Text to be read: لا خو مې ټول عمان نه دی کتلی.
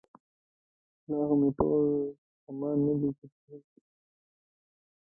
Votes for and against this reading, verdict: 1, 3, rejected